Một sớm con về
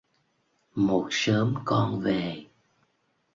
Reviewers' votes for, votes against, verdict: 2, 0, accepted